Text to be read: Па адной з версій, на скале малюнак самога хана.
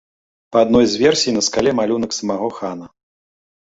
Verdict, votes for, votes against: rejected, 1, 2